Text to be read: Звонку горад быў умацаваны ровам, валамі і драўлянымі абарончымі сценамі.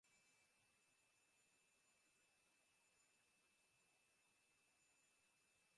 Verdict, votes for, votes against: rejected, 1, 2